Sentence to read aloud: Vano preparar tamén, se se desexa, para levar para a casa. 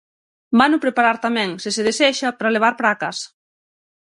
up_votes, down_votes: 6, 0